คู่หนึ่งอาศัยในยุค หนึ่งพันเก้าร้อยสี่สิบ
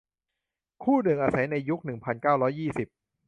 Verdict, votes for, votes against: rejected, 0, 2